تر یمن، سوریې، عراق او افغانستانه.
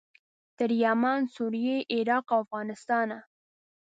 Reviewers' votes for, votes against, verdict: 2, 0, accepted